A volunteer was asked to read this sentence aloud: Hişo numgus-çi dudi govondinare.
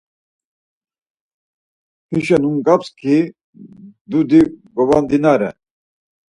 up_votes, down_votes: 4, 2